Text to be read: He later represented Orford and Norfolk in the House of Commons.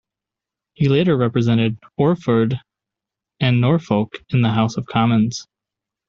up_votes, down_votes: 2, 0